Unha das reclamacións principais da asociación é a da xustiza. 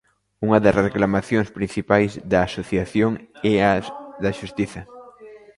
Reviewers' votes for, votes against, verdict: 0, 2, rejected